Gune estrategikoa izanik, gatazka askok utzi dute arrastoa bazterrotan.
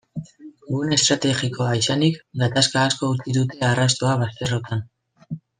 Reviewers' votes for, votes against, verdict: 2, 1, accepted